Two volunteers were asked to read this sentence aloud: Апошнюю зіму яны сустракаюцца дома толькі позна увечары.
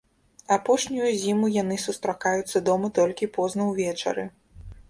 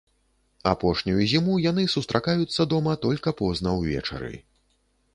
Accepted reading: first